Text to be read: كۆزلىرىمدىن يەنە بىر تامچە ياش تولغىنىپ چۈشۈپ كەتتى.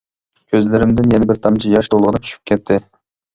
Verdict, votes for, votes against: accepted, 2, 1